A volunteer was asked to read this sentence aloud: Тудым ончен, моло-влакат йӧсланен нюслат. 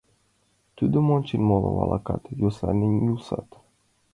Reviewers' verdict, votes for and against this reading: accepted, 2, 0